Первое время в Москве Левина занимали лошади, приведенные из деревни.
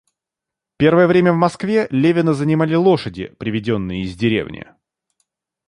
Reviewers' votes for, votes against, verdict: 2, 0, accepted